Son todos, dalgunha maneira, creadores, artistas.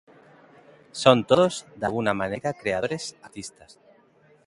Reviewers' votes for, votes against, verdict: 0, 2, rejected